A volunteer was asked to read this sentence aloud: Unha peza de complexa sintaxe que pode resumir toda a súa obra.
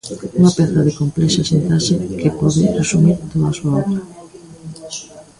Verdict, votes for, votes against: rejected, 0, 2